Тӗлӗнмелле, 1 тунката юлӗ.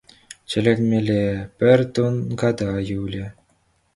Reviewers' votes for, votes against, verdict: 0, 2, rejected